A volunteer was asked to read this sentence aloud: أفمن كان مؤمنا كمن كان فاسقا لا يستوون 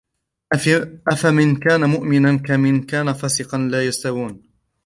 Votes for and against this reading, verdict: 1, 3, rejected